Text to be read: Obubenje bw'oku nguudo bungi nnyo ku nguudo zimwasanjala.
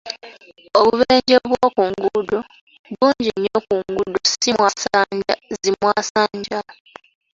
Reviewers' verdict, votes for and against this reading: rejected, 0, 2